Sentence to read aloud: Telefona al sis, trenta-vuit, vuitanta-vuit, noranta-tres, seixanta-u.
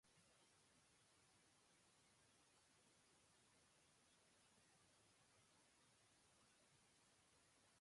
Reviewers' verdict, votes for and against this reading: rejected, 1, 2